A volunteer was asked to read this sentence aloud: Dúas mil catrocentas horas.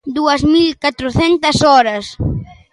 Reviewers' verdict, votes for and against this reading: accepted, 2, 0